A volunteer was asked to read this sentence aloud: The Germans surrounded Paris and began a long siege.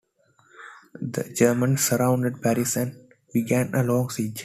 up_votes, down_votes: 2, 0